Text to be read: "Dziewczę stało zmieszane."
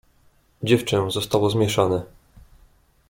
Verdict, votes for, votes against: rejected, 1, 2